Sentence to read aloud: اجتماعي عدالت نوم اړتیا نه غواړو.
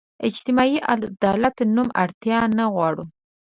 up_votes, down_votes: 2, 0